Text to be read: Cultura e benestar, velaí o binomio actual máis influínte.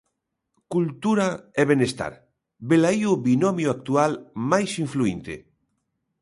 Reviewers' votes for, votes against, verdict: 2, 0, accepted